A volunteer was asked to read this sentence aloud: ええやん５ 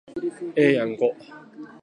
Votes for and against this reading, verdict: 0, 2, rejected